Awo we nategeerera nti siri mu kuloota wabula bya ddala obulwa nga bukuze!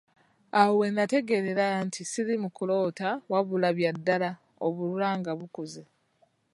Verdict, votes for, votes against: accepted, 2, 0